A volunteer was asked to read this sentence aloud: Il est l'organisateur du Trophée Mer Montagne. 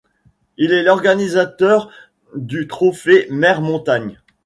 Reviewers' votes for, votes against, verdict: 2, 1, accepted